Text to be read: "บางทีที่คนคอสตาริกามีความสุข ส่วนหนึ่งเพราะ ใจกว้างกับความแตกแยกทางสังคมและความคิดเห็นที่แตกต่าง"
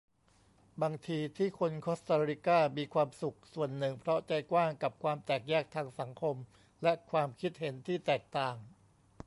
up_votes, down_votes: 2, 0